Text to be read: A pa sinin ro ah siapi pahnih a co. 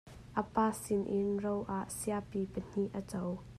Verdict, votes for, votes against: accepted, 2, 0